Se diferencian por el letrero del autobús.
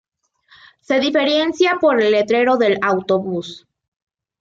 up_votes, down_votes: 0, 2